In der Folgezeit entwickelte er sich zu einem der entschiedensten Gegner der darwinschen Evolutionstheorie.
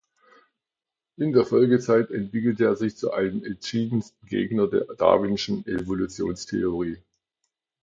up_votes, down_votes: 1, 2